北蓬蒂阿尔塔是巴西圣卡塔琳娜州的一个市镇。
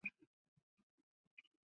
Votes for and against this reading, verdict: 1, 3, rejected